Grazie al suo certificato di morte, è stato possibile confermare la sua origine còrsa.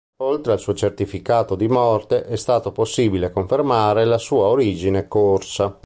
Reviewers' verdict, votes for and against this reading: rejected, 0, 2